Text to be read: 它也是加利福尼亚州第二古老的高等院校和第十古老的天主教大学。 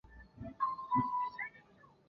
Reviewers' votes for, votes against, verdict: 0, 2, rejected